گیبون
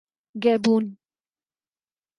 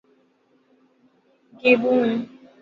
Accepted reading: first